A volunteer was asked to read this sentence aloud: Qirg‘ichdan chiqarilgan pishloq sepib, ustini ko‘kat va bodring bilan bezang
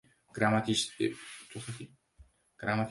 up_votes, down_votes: 0, 2